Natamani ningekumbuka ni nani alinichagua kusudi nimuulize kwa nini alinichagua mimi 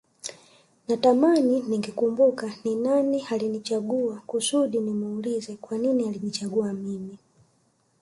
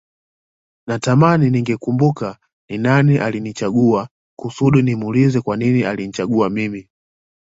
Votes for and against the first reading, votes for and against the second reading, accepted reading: 1, 2, 2, 0, second